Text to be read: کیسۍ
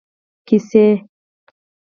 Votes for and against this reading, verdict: 4, 0, accepted